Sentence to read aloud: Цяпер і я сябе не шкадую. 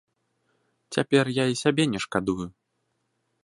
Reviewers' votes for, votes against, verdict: 1, 2, rejected